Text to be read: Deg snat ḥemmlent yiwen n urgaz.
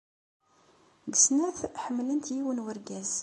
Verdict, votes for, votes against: accepted, 2, 0